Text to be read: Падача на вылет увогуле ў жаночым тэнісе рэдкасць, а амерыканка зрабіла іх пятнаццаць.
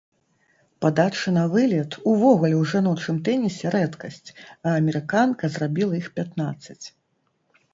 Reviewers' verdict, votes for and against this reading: accepted, 2, 0